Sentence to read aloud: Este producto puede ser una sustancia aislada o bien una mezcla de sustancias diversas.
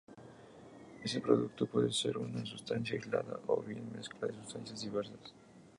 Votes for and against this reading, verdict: 0, 2, rejected